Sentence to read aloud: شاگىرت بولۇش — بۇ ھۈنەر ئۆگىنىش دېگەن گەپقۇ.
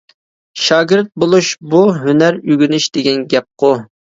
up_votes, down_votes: 2, 0